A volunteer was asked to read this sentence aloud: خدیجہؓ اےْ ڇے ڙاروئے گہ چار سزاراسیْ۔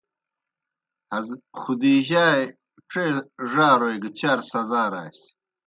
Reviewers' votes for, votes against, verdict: 2, 0, accepted